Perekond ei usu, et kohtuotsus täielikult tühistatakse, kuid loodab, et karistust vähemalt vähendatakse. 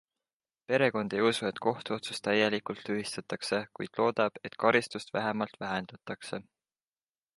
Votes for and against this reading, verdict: 2, 0, accepted